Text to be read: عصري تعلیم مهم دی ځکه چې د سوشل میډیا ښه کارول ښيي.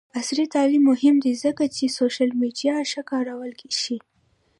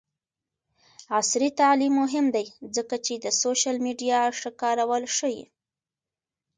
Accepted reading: second